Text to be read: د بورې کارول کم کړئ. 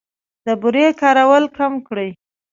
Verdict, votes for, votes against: accepted, 2, 0